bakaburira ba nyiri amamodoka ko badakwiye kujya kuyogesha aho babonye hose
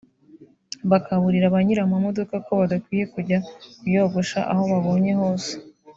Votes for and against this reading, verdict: 1, 2, rejected